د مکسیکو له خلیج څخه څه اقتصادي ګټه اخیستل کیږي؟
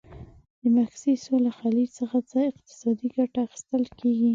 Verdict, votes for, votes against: rejected, 0, 2